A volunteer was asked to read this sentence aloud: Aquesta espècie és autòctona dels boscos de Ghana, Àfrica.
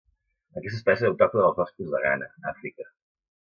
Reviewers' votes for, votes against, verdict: 0, 2, rejected